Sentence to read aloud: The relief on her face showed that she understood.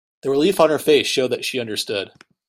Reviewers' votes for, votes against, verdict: 2, 0, accepted